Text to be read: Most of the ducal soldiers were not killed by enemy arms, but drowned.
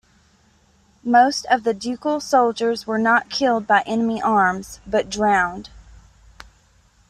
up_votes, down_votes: 2, 0